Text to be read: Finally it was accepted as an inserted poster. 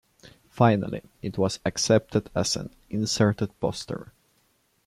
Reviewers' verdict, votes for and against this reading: accepted, 2, 0